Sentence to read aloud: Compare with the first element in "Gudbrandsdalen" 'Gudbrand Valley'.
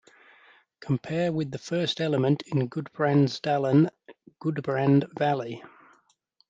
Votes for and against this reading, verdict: 2, 0, accepted